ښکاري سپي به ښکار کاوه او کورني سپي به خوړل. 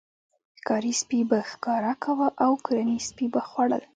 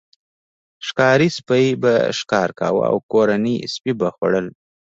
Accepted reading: second